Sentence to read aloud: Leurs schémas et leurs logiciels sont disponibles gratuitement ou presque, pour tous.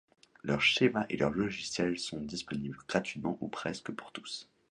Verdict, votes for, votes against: accepted, 2, 0